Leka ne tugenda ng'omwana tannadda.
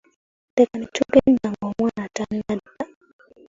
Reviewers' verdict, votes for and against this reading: rejected, 0, 2